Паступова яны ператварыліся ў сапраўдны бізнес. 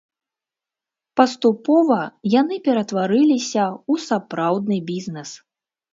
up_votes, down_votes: 1, 2